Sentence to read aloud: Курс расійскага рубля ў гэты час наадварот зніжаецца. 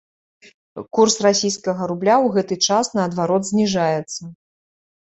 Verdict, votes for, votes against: accepted, 3, 0